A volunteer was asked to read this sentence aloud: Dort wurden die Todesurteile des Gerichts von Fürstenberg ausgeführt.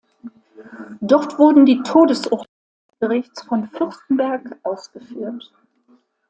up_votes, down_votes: 0, 2